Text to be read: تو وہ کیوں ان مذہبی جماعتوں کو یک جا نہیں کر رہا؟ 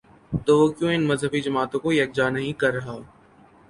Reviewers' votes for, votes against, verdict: 2, 0, accepted